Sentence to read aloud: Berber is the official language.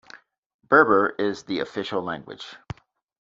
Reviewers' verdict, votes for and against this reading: accepted, 2, 0